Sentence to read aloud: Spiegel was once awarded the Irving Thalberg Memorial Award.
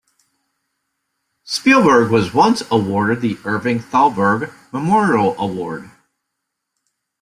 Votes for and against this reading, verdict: 1, 2, rejected